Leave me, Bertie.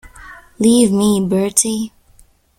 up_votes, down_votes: 2, 0